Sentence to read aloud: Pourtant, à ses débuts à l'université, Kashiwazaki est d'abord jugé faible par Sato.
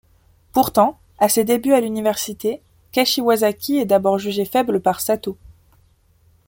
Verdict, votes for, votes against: accepted, 2, 0